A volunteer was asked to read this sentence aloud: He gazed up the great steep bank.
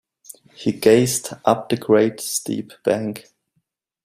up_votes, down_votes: 2, 0